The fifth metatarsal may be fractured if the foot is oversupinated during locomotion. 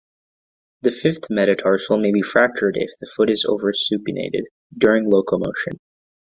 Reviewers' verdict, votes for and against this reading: accepted, 2, 0